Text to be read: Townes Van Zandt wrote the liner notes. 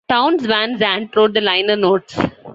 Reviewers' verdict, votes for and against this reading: accepted, 2, 0